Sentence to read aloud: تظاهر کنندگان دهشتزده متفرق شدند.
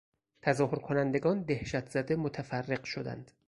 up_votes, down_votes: 4, 0